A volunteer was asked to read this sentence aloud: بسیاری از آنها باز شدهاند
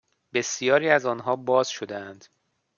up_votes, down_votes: 2, 0